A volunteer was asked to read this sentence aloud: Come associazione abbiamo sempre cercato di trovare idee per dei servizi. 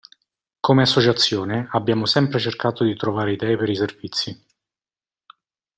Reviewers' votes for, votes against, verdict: 0, 2, rejected